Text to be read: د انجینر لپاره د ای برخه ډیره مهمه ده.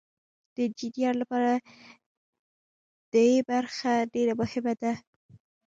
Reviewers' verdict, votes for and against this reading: accepted, 2, 0